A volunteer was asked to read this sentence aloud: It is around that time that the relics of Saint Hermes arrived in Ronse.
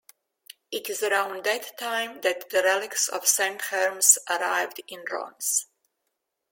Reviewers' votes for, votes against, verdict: 0, 2, rejected